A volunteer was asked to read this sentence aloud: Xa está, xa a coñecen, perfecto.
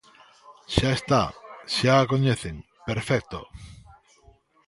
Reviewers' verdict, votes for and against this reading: accepted, 2, 0